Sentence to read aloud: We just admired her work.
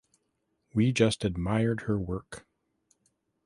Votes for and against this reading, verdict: 2, 0, accepted